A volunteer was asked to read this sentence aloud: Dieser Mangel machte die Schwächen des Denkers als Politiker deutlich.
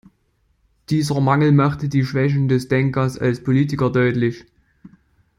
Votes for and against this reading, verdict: 2, 0, accepted